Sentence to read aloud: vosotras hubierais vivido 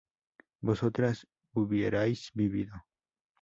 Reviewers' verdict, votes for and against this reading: accepted, 2, 0